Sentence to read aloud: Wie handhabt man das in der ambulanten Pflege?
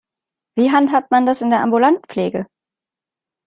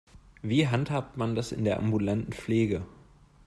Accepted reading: second